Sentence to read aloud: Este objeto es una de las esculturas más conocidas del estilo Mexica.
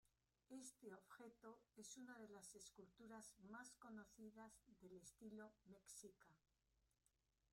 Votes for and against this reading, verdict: 1, 2, rejected